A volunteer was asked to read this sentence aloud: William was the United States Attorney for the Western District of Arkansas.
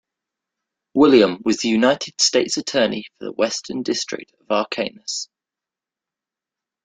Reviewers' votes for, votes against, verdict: 0, 2, rejected